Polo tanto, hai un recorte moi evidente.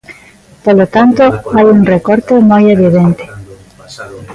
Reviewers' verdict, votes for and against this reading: rejected, 1, 2